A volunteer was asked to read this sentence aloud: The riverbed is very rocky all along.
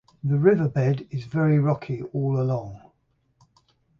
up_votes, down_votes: 6, 3